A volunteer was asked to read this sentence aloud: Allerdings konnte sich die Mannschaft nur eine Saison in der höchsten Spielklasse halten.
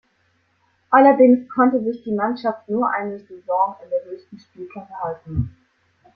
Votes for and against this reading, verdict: 2, 1, accepted